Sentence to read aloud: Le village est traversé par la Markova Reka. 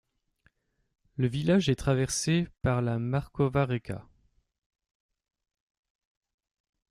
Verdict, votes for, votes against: rejected, 0, 2